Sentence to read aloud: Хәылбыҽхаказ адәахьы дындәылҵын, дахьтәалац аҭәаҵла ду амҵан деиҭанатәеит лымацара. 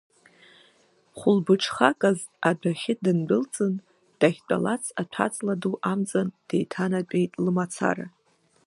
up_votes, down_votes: 2, 1